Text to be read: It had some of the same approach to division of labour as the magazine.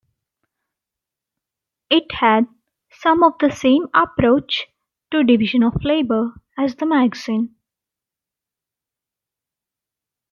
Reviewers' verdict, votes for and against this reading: accepted, 2, 0